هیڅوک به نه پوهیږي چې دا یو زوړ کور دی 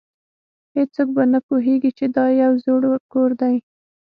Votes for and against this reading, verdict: 6, 0, accepted